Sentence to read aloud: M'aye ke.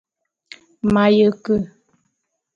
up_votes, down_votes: 2, 0